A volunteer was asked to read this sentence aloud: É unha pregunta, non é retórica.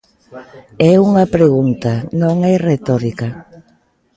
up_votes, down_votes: 1, 2